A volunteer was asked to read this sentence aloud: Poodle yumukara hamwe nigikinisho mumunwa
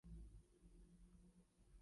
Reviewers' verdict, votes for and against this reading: rejected, 1, 2